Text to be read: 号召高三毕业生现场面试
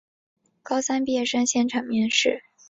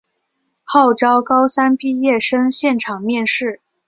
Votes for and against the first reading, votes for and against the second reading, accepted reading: 1, 2, 2, 1, second